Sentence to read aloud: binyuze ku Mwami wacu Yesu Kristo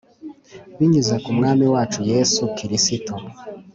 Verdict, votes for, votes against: accepted, 2, 0